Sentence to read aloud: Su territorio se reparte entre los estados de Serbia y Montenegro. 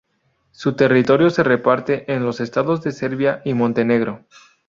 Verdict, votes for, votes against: rejected, 0, 2